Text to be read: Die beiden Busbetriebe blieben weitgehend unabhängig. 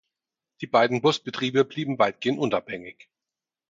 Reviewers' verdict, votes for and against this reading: rejected, 2, 4